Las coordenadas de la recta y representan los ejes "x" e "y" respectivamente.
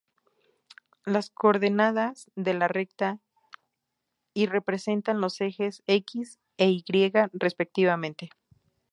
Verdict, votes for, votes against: accepted, 2, 0